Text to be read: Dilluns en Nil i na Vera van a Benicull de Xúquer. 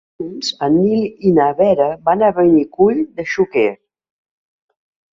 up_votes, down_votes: 0, 3